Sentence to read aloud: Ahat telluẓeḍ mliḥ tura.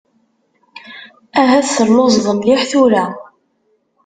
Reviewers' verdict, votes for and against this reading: accepted, 2, 0